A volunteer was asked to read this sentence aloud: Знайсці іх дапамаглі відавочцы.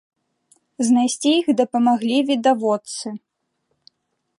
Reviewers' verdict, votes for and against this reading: rejected, 0, 2